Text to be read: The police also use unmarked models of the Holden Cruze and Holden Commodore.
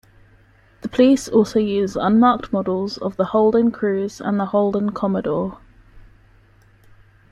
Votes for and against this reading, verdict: 2, 1, accepted